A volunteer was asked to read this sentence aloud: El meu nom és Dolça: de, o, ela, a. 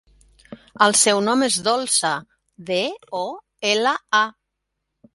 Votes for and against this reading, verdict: 0, 2, rejected